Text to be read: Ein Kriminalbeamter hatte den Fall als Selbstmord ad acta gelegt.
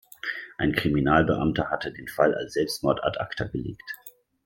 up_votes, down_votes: 2, 0